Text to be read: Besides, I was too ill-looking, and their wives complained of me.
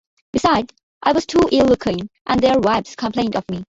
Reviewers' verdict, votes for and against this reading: accepted, 2, 1